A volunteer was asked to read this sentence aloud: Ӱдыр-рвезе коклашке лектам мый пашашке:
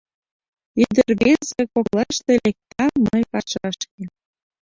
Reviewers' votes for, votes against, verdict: 0, 2, rejected